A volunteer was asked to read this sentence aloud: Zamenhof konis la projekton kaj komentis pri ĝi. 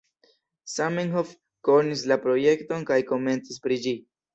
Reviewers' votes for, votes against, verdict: 2, 0, accepted